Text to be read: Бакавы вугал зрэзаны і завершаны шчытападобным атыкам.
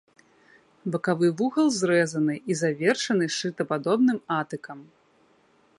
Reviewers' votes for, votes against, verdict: 2, 0, accepted